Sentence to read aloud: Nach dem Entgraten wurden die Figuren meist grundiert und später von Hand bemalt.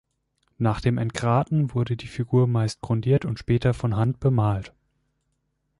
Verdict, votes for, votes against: rejected, 0, 2